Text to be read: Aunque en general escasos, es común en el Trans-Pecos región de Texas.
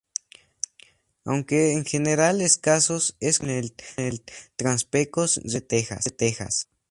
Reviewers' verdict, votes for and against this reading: rejected, 2, 2